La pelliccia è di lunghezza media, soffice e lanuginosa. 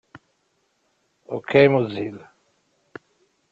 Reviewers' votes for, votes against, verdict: 0, 2, rejected